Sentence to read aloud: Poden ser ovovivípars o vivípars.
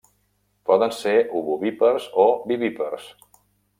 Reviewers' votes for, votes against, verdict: 0, 2, rejected